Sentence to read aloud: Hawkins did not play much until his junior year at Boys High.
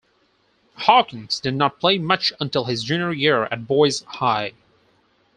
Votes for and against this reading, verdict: 4, 0, accepted